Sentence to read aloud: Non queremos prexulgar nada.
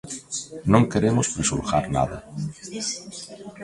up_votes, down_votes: 2, 0